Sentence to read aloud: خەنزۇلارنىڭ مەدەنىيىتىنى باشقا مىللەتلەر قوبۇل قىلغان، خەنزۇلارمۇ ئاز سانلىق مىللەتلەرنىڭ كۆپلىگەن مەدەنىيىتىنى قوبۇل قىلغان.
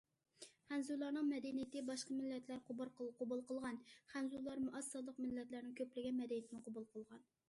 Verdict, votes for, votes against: rejected, 0, 2